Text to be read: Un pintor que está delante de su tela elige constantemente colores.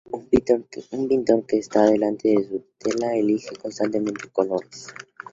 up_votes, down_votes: 0, 4